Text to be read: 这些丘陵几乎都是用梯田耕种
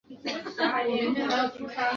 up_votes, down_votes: 0, 2